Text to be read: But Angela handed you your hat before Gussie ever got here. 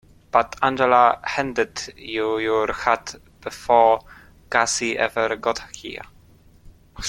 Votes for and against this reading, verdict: 2, 0, accepted